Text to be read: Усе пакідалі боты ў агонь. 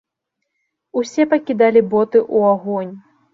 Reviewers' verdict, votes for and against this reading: rejected, 1, 2